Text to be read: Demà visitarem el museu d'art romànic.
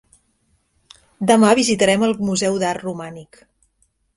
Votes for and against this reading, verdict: 3, 0, accepted